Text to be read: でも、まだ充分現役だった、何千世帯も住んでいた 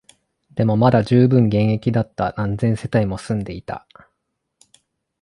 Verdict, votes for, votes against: accepted, 2, 0